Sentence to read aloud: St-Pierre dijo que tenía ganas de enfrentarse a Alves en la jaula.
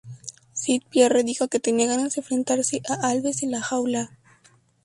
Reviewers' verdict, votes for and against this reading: rejected, 2, 2